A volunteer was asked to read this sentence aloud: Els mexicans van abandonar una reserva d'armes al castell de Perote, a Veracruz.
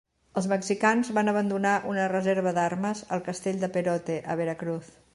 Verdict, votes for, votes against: accepted, 3, 0